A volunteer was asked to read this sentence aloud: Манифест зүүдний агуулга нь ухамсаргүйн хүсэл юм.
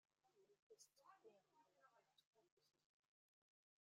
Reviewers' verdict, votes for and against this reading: rejected, 0, 2